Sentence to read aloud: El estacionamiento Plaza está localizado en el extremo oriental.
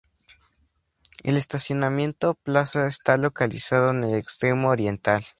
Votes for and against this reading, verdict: 2, 0, accepted